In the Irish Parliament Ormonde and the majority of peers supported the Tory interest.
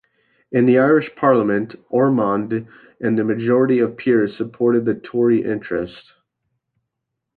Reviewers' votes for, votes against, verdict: 2, 0, accepted